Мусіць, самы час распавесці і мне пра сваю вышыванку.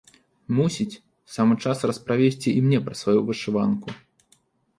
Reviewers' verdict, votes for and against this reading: rejected, 0, 2